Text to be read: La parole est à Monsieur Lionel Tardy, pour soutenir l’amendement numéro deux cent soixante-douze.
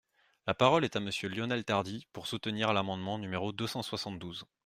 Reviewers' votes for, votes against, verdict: 2, 0, accepted